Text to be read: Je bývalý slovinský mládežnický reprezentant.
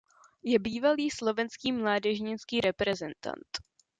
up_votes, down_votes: 2, 0